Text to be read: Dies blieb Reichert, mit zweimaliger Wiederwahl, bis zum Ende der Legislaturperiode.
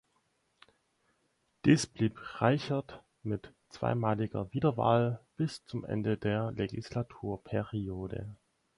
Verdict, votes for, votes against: accepted, 4, 0